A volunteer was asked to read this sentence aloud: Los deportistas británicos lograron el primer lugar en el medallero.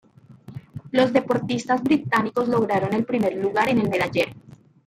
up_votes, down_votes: 2, 0